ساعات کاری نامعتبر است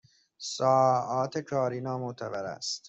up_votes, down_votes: 1, 2